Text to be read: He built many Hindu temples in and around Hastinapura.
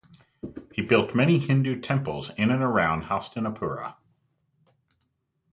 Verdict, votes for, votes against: accepted, 2, 0